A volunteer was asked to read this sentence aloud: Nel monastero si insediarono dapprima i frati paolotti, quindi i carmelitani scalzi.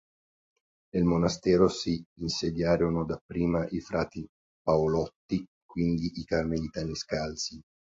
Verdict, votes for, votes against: accepted, 2, 0